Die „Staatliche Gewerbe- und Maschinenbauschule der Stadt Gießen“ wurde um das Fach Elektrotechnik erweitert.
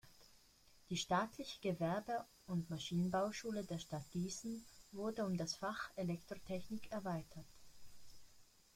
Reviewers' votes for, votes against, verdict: 0, 2, rejected